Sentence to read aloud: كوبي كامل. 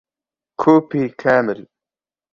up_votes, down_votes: 0, 3